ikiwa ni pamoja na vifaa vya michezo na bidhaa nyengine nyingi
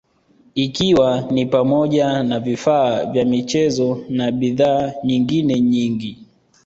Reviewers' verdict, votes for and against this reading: accepted, 2, 1